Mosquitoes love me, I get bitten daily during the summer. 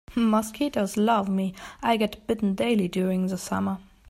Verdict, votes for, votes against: accepted, 2, 0